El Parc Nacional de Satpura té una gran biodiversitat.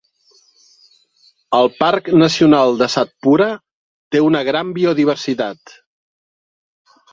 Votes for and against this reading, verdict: 3, 0, accepted